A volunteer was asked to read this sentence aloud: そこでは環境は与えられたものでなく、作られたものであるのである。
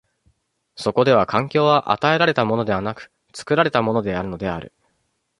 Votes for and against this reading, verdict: 1, 2, rejected